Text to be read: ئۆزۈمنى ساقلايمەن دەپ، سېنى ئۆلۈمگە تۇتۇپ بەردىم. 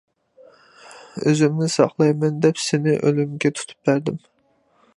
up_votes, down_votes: 2, 0